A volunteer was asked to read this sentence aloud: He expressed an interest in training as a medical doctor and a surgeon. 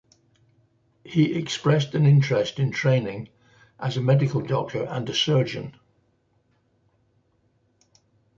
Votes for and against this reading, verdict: 2, 0, accepted